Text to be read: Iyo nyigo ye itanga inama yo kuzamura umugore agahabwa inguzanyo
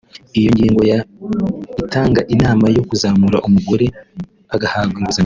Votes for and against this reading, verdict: 1, 2, rejected